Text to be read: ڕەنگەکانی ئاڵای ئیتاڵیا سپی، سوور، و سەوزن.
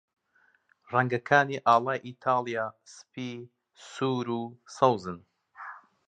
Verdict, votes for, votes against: accepted, 2, 0